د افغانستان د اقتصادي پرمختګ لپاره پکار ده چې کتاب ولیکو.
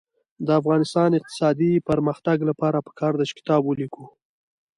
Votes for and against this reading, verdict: 1, 2, rejected